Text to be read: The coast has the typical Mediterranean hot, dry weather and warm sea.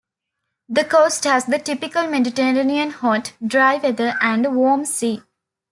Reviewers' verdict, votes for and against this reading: accepted, 2, 1